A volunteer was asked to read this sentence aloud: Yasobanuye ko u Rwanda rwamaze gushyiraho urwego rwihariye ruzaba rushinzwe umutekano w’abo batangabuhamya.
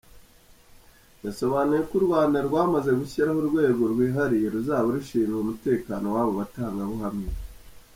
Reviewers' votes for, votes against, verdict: 1, 2, rejected